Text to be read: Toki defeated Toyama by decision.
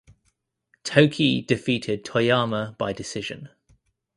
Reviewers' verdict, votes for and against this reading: accepted, 2, 0